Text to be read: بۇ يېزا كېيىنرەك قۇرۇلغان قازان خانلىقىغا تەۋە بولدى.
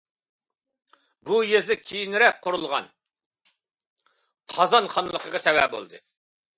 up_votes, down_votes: 2, 0